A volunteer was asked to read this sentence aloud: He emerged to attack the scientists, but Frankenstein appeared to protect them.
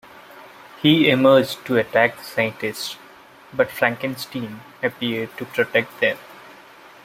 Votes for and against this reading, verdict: 1, 2, rejected